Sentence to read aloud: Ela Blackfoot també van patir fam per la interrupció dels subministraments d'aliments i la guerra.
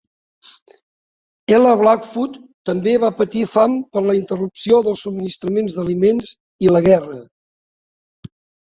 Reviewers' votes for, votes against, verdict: 1, 2, rejected